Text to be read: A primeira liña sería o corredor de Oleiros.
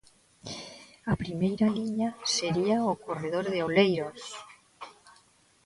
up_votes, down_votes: 1, 2